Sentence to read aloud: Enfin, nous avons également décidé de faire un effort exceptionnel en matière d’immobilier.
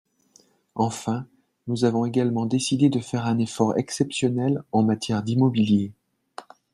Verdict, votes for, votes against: accepted, 2, 0